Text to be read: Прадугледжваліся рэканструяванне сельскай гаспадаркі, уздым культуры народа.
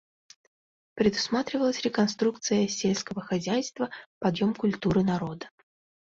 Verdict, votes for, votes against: rejected, 0, 2